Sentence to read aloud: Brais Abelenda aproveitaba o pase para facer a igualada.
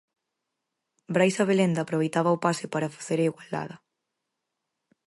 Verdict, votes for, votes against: accepted, 4, 0